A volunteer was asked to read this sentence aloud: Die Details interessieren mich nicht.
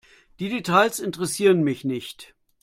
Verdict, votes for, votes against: accepted, 2, 0